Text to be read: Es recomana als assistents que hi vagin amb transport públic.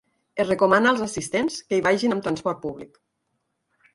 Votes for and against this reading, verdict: 4, 0, accepted